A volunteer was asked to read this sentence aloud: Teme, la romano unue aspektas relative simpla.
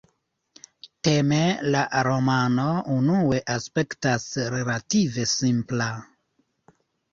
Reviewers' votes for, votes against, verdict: 0, 2, rejected